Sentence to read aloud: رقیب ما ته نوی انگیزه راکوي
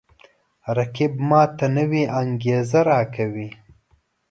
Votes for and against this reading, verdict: 2, 0, accepted